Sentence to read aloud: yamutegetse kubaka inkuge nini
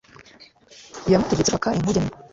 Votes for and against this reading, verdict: 0, 2, rejected